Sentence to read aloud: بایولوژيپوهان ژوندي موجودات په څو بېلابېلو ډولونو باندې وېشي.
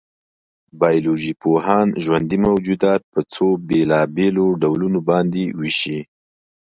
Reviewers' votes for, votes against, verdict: 2, 0, accepted